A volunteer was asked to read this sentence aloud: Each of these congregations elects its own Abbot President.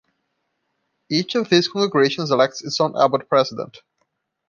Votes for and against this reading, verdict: 0, 2, rejected